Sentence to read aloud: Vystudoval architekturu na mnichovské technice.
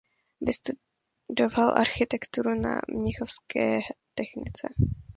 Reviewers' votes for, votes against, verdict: 0, 2, rejected